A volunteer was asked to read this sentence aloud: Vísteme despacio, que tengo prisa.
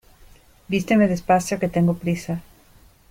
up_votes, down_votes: 2, 0